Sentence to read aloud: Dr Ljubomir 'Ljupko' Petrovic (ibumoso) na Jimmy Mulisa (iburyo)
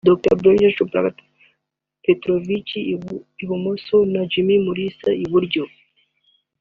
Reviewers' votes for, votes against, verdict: 0, 3, rejected